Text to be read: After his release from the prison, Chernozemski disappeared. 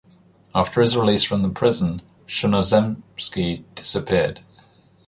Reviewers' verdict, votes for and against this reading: accepted, 2, 0